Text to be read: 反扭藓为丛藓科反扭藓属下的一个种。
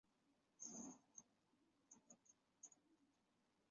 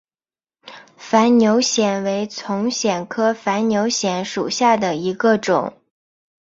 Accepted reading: second